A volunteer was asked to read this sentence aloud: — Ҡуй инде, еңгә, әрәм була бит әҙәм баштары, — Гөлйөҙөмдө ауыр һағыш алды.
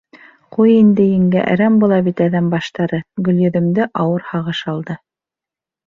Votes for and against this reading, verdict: 3, 0, accepted